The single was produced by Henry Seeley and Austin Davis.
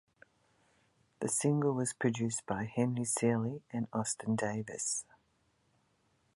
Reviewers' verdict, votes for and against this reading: accepted, 2, 0